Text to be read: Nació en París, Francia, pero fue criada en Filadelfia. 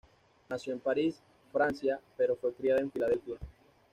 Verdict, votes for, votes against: accepted, 2, 0